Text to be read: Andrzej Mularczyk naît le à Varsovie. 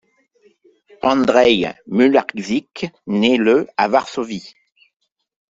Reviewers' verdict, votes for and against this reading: accepted, 2, 0